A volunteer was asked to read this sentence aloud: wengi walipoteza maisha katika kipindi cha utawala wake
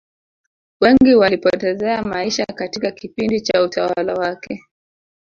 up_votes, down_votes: 1, 2